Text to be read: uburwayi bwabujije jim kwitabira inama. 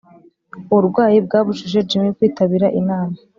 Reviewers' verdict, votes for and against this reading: accepted, 2, 0